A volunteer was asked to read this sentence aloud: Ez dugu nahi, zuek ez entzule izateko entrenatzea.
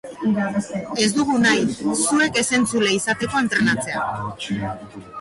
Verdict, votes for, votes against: rejected, 0, 2